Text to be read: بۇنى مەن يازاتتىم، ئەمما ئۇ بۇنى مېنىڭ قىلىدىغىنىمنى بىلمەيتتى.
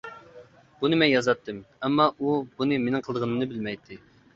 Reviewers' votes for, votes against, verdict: 2, 0, accepted